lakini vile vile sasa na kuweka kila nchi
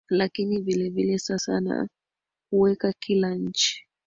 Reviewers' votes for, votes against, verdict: 1, 2, rejected